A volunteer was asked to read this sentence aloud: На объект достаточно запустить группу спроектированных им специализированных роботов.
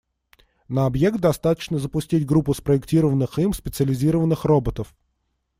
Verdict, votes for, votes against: accepted, 2, 0